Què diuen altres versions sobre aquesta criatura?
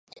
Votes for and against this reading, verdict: 0, 2, rejected